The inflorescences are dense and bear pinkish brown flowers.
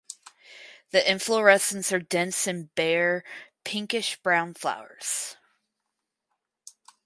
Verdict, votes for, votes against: accepted, 4, 0